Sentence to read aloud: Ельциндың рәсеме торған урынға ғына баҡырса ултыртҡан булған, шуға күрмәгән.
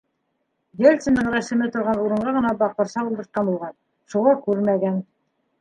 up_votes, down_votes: 1, 2